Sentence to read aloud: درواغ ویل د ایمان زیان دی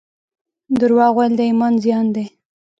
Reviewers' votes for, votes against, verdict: 0, 2, rejected